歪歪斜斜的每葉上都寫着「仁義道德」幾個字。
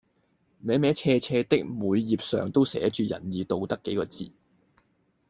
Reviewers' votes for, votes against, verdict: 0, 2, rejected